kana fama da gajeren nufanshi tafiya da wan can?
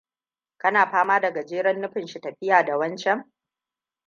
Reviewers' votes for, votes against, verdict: 2, 0, accepted